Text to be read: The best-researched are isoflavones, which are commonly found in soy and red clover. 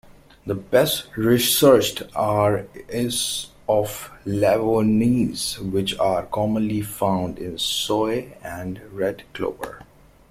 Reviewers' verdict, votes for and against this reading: rejected, 0, 2